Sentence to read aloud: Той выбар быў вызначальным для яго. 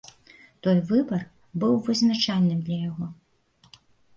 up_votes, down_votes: 2, 0